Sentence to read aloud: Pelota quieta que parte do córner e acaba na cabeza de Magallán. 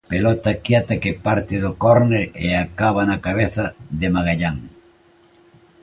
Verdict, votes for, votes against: accepted, 2, 0